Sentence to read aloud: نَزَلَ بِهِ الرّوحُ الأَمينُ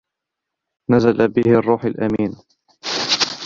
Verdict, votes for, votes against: rejected, 1, 2